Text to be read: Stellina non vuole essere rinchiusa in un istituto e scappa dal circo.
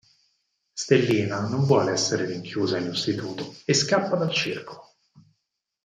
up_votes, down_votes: 4, 0